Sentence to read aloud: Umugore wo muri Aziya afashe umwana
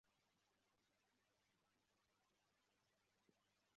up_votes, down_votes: 0, 2